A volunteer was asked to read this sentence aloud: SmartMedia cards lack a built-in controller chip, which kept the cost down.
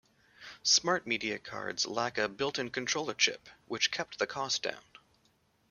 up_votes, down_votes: 2, 0